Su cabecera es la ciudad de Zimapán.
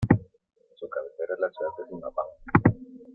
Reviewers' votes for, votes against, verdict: 2, 0, accepted